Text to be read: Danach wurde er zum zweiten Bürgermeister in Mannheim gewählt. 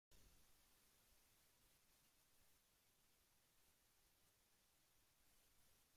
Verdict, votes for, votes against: rejected, 0, 2